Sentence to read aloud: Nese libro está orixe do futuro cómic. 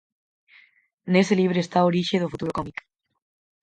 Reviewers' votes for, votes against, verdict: 4, 0, accepted